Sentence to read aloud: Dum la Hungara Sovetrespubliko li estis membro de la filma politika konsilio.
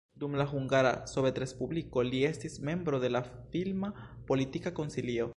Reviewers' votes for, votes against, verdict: 1, 2, rejected